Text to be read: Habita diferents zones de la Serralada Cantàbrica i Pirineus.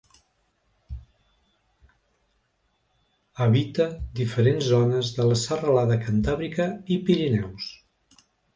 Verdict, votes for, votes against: accepted, 2, 0